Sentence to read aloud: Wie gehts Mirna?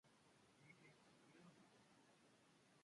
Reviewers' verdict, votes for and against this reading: rejected, 0, 2